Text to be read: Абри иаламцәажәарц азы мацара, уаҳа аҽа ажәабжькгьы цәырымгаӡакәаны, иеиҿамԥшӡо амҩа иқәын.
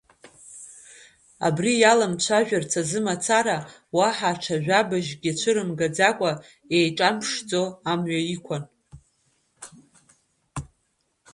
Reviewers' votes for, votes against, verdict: 0, 2, rejected